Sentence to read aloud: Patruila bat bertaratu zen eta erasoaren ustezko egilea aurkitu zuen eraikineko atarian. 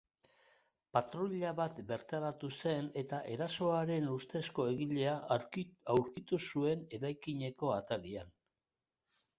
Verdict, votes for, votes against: rejected, 1, 2